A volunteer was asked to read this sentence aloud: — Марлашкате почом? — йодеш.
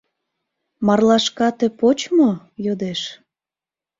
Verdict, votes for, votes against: rejected, 0, 2